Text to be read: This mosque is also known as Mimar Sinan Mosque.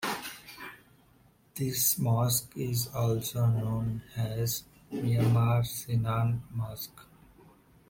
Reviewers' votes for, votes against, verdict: 2, 0, accepted